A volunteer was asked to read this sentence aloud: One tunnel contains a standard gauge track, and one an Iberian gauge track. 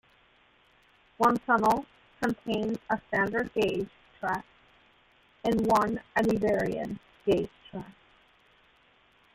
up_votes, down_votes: 0, 2